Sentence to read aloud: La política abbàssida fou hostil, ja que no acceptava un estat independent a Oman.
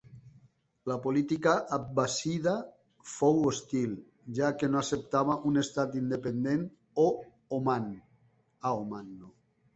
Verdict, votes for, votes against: rejected, 0, 2